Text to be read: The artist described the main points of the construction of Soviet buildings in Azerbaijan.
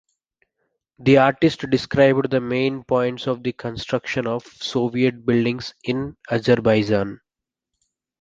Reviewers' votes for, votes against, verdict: 2, 1, accepted